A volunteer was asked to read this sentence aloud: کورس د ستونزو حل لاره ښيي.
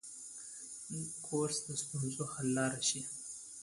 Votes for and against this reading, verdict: 0, 2, rejected